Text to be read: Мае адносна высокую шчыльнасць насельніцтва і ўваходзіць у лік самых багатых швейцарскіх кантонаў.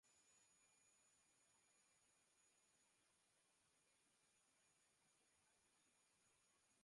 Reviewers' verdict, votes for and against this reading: rejected, 0, 2